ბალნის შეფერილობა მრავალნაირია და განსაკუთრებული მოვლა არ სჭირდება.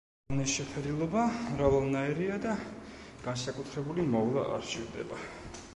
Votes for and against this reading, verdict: 1, 2, rejected